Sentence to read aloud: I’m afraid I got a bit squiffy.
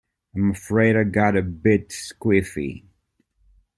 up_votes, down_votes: 2, 0